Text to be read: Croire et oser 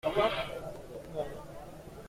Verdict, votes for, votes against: rejected, 0, 2